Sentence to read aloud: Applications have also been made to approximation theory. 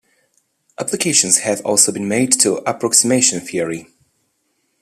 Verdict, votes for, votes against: accepted, 2, 0